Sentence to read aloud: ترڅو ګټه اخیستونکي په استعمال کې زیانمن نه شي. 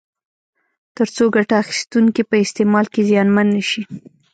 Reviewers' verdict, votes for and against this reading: rejected, 1, 2